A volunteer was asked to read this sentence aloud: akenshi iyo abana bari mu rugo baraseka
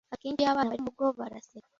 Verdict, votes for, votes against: rejected, 0, 2